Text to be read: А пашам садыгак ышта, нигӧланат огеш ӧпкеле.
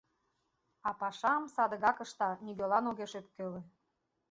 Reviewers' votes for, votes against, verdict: 1, 2, rejected